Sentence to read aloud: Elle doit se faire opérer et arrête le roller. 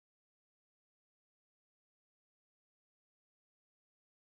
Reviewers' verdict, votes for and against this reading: rejected, 0, 2